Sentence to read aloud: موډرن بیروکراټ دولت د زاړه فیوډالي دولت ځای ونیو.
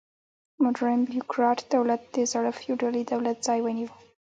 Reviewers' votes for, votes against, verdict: 3, 0, accepted